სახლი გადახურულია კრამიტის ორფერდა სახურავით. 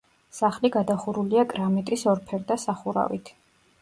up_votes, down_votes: 2, 0